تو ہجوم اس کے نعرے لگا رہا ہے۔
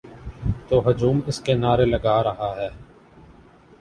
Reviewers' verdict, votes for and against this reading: accepted, 7, 0